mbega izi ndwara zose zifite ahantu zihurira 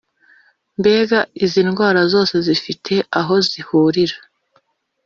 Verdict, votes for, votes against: rejected, 1, 2